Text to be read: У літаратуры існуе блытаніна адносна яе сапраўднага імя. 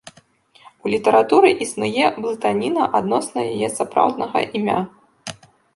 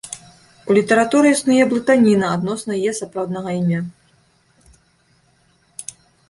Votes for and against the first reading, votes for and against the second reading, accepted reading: 1, 2, 2, 0, second